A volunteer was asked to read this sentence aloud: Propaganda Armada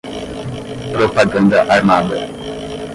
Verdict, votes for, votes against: rejected, 5, 10